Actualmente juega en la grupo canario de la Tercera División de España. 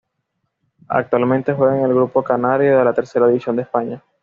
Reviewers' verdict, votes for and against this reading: accepted, 2, 0